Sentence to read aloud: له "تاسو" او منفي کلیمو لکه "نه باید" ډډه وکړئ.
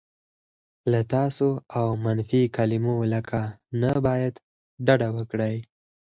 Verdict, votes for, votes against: accepted, 4, 2